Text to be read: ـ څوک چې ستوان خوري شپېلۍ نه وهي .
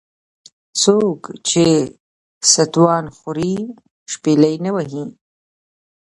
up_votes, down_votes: 2, 0